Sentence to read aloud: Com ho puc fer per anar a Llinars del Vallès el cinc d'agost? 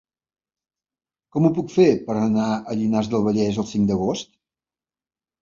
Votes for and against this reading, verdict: 2, 0, accepted